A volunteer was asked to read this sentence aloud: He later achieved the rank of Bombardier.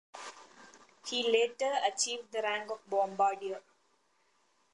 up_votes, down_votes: 1, 2